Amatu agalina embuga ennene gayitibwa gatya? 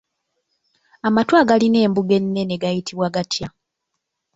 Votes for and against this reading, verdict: 2, 0, accepted